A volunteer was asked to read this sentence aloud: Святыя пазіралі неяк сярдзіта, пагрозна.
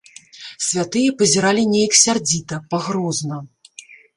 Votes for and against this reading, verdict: 2, 0, accepted